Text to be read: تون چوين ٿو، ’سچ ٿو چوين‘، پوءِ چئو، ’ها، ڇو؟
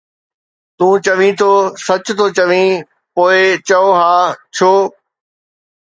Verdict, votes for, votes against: accepted, 2, 0